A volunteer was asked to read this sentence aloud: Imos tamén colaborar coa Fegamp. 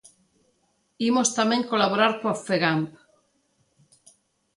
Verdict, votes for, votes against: accepted, 2, 0